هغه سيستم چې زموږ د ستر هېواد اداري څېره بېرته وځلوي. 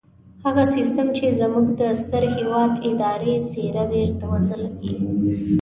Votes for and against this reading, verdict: 1, 2, rejected